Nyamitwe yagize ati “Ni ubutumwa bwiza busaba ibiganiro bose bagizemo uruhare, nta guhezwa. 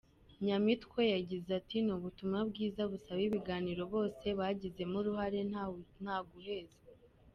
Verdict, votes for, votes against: rejected, 0, 2